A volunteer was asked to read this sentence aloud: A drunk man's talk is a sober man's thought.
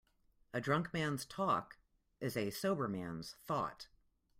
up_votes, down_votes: 2, 0